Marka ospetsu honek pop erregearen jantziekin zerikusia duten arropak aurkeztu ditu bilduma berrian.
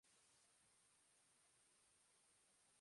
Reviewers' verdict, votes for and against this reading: rejected, 0, 3